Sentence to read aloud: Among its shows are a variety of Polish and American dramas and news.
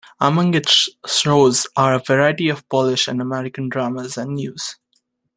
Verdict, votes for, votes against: accepted, 2, 1